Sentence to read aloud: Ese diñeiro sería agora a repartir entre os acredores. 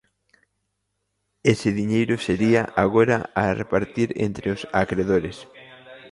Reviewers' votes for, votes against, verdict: 2, 0, accepted